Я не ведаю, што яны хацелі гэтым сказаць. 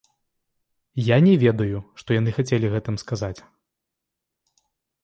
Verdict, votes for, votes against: rejected, 1, 2